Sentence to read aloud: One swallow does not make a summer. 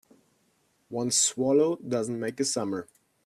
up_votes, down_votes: 0, 2